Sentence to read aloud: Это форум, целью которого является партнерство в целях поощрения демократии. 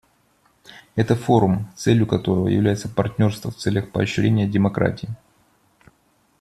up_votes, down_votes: 2, 0